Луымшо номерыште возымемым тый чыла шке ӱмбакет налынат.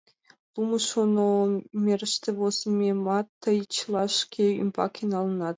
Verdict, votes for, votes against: rejected, 1, 2